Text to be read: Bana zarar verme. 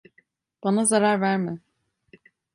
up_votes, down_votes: 2, 0